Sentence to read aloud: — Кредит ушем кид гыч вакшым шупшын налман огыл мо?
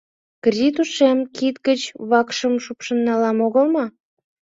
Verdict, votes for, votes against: rejected, 1, 2